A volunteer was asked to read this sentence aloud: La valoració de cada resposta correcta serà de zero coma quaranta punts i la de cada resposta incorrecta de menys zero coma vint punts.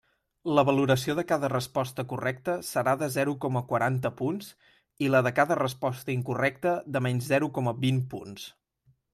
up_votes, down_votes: 2, 0